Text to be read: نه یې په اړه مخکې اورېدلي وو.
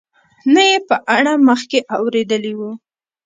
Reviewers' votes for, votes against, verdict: 0, 2, rejected